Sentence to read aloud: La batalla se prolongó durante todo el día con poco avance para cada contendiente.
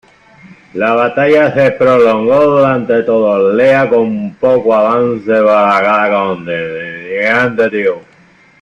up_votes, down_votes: 0, 2